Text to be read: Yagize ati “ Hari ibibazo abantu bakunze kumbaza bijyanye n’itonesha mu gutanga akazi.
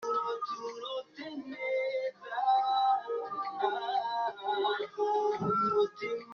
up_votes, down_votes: 0, 2